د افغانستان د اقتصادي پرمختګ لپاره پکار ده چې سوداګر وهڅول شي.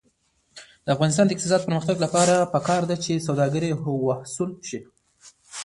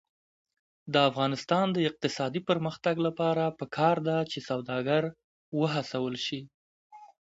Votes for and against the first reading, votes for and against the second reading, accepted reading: 0, 2, 2, 0, second